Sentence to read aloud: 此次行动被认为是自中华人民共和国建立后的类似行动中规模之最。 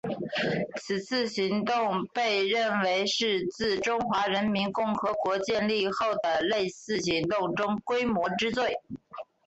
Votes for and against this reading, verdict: 4, 0, accepted